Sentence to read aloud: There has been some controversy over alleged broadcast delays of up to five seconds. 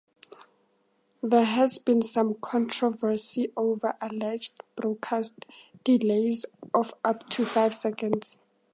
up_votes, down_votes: 2, 0